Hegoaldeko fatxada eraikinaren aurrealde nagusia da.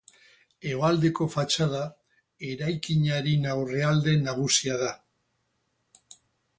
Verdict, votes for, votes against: rejected, 0, 2